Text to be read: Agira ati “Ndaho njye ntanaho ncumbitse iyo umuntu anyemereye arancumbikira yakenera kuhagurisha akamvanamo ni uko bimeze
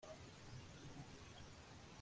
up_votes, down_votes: 0, 2